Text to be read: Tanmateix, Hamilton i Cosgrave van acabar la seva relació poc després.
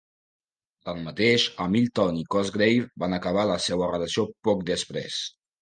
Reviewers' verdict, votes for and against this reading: accepted, 2, 0